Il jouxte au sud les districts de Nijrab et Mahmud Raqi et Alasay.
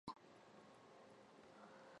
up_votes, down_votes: 0, 2